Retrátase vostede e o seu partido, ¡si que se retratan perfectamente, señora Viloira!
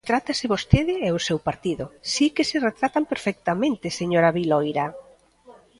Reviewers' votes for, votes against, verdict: 0, 2, rejected